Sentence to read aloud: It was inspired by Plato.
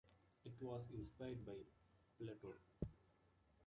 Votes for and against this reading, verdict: 2, 0, accepted